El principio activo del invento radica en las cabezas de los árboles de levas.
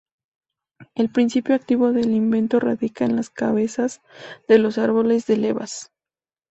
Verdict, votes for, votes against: accepted, 2, 0